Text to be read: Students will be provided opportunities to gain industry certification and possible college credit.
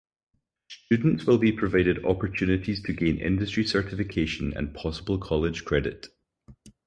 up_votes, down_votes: 4, 0